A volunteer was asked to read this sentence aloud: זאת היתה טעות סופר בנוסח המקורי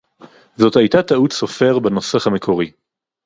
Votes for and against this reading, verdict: 2, 2, rejected